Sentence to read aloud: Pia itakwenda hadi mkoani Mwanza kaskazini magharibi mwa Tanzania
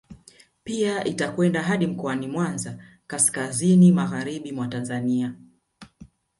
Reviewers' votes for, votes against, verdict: 1, 2, rejected